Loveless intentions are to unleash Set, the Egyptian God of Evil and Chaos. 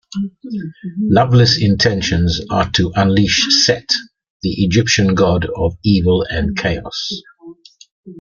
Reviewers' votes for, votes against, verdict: 2, 1, accepted